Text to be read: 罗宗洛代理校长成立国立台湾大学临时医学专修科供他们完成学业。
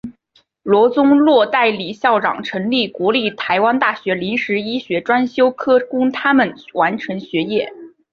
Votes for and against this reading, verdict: 2, 0, accepted